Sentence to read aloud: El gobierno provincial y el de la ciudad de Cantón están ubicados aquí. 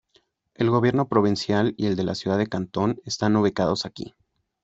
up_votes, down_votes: 3, 0